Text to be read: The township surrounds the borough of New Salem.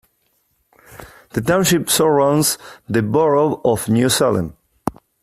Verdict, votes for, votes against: accepted, 2, 0